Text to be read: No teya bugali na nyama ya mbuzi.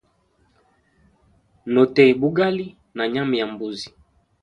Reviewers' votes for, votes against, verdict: 2, 0, accepted